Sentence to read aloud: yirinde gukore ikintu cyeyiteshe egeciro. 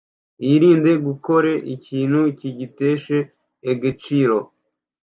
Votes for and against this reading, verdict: 0, 2, rejected